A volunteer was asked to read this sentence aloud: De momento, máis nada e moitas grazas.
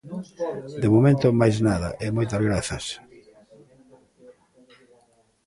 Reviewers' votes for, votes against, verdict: 1, 2, rejected